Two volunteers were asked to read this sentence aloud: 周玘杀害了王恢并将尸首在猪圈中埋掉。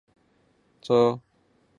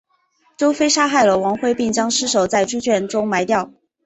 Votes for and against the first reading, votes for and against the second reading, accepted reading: 0, 2, 2, 1, second